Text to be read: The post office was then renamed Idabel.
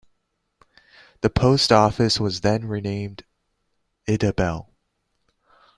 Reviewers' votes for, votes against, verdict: 2, 1, accepted